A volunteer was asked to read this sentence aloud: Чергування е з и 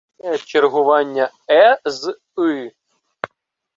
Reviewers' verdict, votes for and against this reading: accepted, 2, 1